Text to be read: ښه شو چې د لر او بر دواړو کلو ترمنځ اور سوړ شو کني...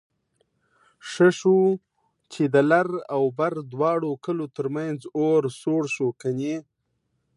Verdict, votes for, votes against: rejected, 1, 2